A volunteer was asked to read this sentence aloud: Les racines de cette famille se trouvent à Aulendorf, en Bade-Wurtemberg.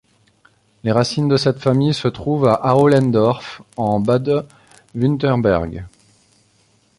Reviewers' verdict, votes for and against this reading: rejected, 1, 2